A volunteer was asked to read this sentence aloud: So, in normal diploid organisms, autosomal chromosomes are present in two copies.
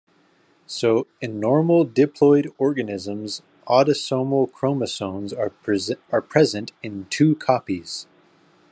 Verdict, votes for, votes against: rejected, 0, 2